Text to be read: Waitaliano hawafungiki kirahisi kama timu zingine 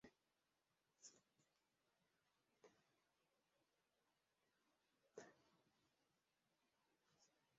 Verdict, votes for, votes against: rejected, 0, 3